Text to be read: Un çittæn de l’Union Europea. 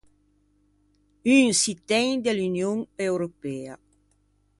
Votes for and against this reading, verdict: 2, 0, accepted